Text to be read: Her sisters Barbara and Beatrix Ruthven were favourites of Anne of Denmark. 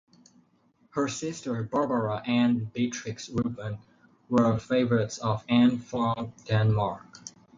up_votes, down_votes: 0, 4